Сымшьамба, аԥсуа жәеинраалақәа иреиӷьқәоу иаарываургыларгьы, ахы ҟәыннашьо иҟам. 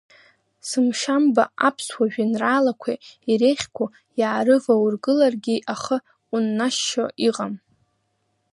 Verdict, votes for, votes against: rejected, 1, 2